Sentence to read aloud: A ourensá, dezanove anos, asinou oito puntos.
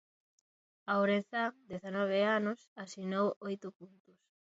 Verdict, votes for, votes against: rejected, 0, 2